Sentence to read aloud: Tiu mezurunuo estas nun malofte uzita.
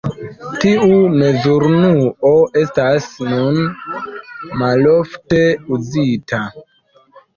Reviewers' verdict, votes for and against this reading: accepted, 2, 0